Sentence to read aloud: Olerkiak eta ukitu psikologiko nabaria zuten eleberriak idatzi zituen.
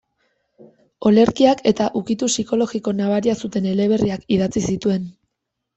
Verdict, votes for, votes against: accepted, 2, 0